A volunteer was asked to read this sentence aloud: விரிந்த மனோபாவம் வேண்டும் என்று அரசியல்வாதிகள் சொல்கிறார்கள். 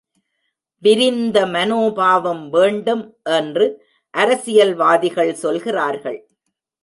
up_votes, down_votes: 2, 0